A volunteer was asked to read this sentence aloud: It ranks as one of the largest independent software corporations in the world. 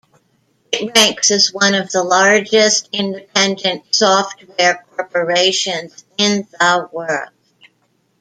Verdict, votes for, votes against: rejected, 1, 2